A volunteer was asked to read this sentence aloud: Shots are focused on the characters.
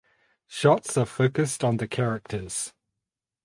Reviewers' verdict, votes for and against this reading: accepted, 4, 0